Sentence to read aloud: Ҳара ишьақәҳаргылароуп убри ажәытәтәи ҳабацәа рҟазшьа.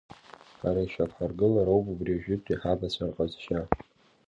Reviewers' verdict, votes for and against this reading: rejected, 0, 3